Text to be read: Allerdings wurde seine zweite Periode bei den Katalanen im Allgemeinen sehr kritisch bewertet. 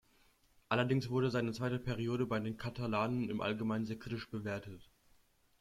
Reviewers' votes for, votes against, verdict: 3, 0, accepted